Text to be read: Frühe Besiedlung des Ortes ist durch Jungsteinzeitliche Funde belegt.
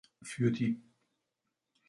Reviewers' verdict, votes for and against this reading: rejected, 0, 2